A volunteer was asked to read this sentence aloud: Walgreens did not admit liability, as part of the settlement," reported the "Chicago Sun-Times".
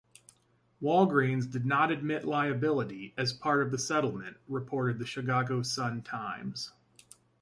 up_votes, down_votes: 2, 1